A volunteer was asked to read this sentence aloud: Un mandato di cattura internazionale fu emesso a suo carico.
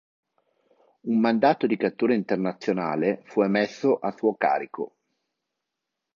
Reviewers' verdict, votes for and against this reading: accepted, 2, 0